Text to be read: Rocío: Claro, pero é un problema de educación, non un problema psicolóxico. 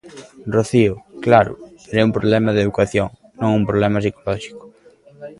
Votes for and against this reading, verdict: 2, 1, accepted